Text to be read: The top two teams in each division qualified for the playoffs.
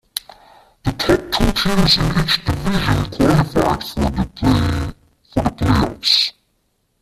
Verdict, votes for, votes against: rejected, 1, 2